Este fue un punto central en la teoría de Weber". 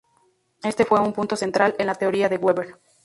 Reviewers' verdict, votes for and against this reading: accepted, 2, 0